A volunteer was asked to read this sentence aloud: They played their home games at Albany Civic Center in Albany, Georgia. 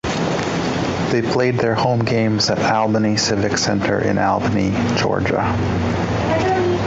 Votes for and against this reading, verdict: 2, 0, accepted